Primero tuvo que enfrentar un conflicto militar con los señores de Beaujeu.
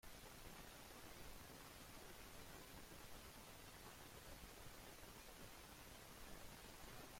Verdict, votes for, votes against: rejected, 0, 2